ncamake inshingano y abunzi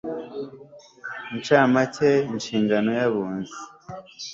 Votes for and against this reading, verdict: 2, 0, accepted